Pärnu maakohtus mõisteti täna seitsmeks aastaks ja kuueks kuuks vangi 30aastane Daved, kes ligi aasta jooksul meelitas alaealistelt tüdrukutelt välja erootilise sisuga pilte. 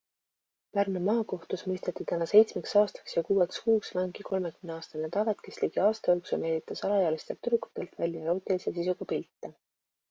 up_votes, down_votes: 0, 2